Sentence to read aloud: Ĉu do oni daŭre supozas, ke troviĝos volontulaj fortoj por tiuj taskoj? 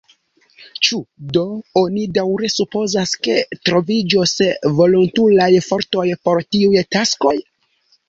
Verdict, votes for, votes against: rejected, 2, 3